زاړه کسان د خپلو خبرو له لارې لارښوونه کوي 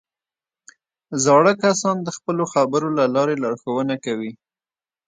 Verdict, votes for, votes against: rejected, 0, 2